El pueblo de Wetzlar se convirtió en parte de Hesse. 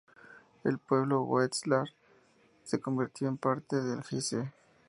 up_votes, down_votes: 0, 2